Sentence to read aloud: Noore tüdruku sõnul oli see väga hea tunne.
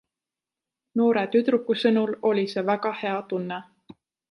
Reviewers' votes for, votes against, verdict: 2, 0, accepted